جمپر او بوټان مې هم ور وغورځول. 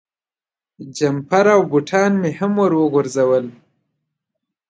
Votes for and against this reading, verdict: 3, 0, accepted